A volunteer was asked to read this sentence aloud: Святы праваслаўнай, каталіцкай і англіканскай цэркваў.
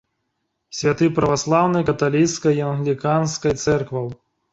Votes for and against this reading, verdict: 1, 2, rejected